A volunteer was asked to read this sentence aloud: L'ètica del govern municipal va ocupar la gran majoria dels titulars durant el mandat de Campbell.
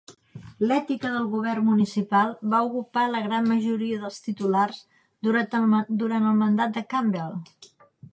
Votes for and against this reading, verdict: 1, 2, rejected